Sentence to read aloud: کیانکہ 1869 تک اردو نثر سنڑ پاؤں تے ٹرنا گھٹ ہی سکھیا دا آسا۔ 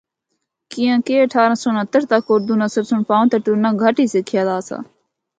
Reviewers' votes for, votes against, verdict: 0, 2, rejected